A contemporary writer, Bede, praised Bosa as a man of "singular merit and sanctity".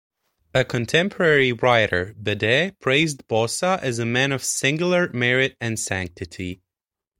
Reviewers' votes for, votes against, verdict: 1, 2, rejected